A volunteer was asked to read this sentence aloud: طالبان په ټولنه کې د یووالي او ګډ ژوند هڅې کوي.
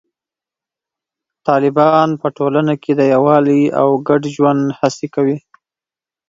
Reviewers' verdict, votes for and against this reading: accepted, 2, 0